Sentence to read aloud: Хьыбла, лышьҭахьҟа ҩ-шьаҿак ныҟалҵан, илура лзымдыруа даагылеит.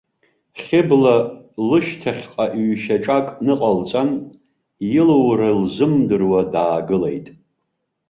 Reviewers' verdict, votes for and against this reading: rejected, 1, 2